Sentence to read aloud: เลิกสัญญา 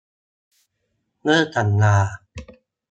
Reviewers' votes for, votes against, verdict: 1, 2, rejected